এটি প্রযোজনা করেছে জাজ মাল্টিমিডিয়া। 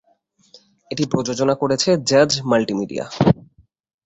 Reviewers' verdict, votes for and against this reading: accepted, 3, 0